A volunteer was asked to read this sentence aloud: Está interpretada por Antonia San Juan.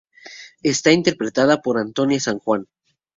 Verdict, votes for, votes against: accepted, 2, 0